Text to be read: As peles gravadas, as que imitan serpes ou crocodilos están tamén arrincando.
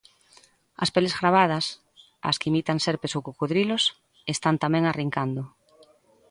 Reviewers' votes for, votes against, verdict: 2, 0, accepted